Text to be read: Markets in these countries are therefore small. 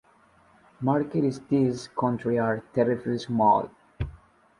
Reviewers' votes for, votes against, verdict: 0, 2, rejected